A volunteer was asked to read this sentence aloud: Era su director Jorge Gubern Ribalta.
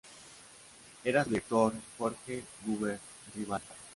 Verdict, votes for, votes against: rejected, 0, 2